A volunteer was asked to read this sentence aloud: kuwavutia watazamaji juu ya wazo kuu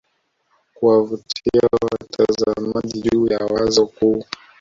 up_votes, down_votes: 1, 2